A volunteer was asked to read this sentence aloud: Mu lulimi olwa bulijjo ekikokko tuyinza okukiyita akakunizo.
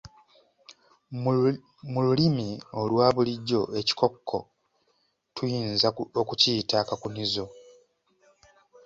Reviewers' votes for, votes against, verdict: 2, 1, accepted